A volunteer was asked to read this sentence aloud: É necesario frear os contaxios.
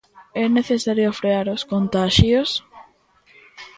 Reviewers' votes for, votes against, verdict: 2, 0, accepted